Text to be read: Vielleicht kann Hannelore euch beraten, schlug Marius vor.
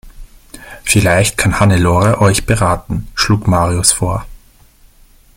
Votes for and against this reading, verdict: 2, 0, accepted